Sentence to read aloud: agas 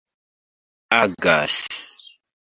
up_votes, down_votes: 2, 1